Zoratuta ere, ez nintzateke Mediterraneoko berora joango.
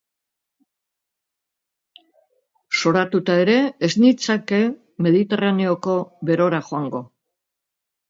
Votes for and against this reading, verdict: 0, 2, rejected